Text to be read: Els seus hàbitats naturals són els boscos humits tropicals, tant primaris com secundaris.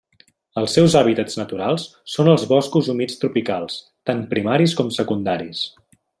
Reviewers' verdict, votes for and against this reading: accepted, 3, 0